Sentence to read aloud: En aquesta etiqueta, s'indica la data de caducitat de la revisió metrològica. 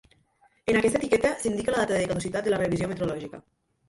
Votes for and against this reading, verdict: 1, 2, rejected